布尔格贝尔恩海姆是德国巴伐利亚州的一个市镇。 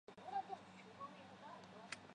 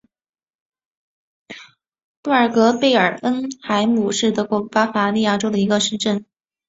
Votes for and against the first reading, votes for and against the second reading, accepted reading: 0, 2, 2, 0, second